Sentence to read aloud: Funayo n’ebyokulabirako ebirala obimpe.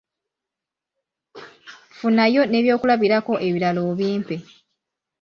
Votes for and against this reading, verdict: 2, 0, accepted